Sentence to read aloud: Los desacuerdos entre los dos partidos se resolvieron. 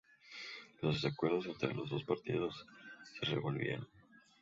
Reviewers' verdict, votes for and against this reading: rejected, 2, 2